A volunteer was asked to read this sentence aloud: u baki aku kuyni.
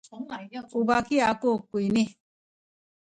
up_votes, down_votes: 1, 2